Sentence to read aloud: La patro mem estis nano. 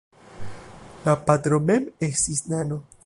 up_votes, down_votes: 1, 2